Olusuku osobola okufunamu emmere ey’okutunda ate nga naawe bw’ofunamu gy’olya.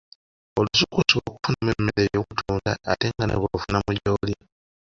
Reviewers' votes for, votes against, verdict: 0, 2, rejected